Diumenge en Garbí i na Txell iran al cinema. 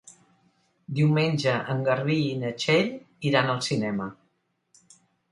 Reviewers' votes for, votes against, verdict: 3, 0, accepted